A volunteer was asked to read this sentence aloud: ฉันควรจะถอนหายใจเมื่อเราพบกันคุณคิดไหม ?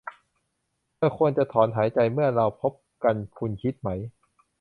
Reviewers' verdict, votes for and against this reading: rejected, 1, 2